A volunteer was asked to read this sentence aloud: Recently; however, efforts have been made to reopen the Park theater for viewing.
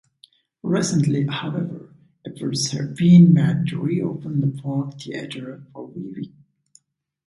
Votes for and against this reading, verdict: 2, 0, accepted